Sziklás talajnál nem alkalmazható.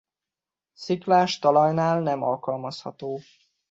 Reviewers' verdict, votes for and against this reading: accepted, 2, 0